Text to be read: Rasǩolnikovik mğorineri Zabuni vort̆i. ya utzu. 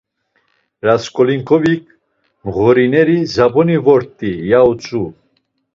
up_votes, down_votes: 2, 0